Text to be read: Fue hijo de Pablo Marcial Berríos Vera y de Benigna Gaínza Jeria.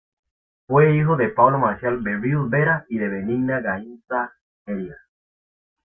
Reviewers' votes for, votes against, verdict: 2, 0, accepted